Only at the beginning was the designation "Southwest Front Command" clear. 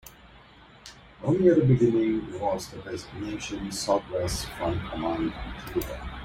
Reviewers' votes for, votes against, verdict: 2, 1, accepted